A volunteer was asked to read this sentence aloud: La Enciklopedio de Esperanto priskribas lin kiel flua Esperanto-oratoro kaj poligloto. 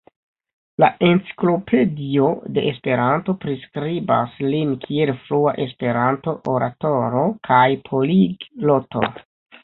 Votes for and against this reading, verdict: 0, 2, rejected